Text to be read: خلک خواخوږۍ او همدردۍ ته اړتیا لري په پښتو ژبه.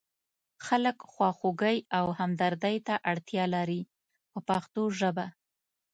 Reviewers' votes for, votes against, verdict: 1, 2, rejected